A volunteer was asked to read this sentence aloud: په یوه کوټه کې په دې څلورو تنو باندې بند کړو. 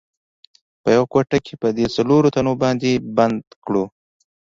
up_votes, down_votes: 2, 0